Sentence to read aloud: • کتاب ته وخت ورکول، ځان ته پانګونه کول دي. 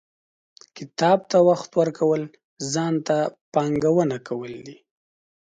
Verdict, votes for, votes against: accepted, 2, 0